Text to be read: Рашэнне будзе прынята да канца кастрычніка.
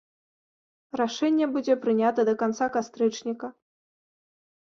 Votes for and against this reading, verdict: 2, 0, accepted